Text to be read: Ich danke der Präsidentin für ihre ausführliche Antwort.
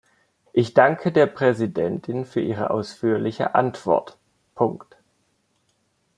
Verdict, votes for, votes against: rejected, 0, 2